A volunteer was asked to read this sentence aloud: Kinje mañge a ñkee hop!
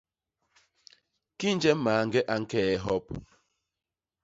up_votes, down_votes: 2, 0